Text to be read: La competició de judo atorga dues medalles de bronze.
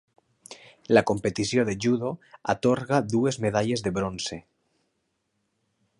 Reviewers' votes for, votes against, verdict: 3, 0, accepted